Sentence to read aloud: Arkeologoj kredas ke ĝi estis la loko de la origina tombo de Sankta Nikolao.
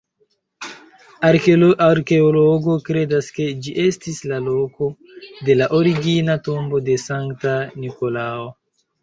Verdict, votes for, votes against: rejected, 0, 2